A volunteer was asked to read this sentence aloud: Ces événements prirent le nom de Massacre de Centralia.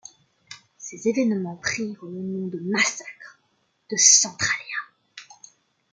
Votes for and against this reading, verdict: 2, 0, accepted